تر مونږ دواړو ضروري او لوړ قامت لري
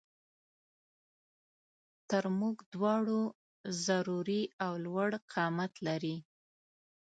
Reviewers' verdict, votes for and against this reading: accepted, 2, 0